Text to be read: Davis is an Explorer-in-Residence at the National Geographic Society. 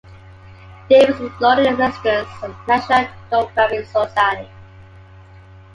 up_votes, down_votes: 0, 2